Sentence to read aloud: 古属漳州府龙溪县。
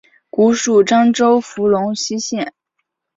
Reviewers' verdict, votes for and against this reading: accepted, 4, 0